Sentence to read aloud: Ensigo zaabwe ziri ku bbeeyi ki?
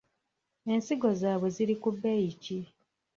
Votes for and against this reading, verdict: 1, 2, rejected